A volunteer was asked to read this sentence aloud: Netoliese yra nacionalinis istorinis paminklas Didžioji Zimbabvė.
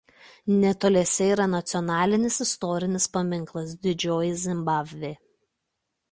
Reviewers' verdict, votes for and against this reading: accepted, 2, 0